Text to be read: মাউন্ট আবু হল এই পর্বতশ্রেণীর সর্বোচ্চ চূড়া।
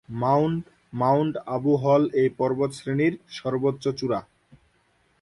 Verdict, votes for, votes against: rejected, 0, 2